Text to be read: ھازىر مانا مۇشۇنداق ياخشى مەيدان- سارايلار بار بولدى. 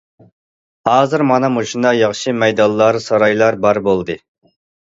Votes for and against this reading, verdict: 1, 2, rejected